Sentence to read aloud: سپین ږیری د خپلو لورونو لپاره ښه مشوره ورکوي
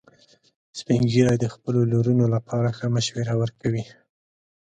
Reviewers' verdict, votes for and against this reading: accepted, 2, 0